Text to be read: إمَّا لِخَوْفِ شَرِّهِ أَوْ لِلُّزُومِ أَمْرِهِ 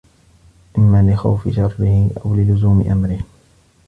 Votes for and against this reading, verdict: 1, 2, rejected